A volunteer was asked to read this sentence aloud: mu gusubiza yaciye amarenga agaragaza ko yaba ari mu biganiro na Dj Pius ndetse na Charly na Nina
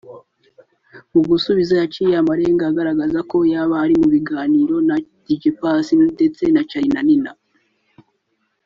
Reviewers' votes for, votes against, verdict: 3, 0, accepted